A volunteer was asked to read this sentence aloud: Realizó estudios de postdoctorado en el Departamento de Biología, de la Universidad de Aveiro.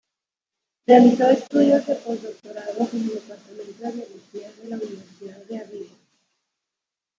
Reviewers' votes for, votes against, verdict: 1, 2, rejected